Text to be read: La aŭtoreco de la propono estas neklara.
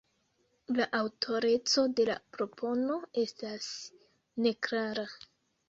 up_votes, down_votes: 0, 2